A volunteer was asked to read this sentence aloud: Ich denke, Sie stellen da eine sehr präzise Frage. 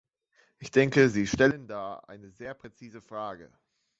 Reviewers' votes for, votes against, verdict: 0, 2, rejected